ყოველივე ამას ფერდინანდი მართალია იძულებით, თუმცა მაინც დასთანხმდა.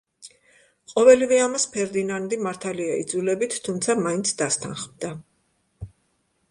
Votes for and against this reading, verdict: 2, 0, accepted